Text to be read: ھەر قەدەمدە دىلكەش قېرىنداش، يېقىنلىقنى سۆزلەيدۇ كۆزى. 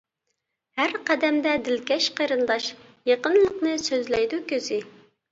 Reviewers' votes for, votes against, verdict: 2, 0, accepted